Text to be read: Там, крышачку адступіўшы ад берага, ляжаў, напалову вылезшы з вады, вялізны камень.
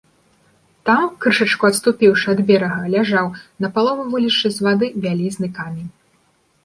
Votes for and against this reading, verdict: 2, 0, accepted